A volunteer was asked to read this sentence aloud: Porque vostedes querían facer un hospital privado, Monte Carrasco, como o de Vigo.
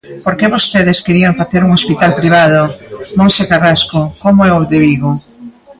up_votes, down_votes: 2, 1